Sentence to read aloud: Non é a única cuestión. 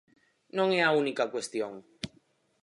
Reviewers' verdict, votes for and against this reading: accepted, 4, 0